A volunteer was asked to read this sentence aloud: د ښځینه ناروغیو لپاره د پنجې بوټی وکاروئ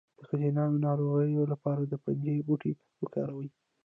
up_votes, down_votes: 2, 1